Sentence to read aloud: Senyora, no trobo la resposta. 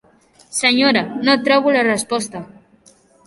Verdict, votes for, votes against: accepted, 4, 0